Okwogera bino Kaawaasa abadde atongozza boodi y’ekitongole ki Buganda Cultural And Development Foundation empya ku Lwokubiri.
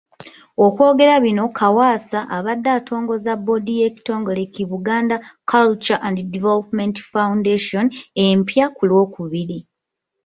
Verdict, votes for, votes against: rejected, 1, 2